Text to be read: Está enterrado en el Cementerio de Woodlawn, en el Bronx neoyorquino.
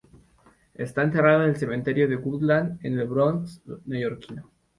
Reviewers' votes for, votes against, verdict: 4, 0, accepted